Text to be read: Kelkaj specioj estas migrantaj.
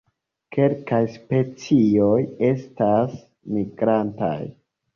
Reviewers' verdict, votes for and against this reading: accepted, 2, 0